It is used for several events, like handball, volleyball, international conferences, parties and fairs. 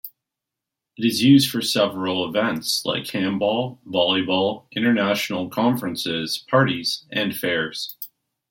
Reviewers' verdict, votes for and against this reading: accepted, 2, 0